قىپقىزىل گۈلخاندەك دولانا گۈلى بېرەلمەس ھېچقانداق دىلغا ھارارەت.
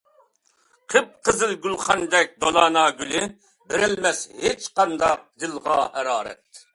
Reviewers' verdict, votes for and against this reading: accepted, 2, 0